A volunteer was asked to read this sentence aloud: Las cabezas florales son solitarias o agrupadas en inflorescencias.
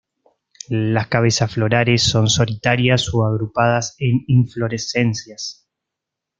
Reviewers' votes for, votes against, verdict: 2, 0, accepted